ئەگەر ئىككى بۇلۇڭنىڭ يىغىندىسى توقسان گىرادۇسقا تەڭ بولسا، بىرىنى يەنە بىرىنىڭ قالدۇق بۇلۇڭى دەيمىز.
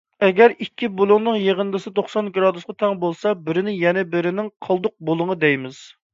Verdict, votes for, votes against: accepted, 2, 0